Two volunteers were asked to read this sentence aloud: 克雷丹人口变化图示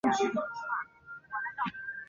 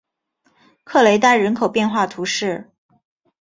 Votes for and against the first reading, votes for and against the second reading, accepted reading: 0, 2, 2, 1, second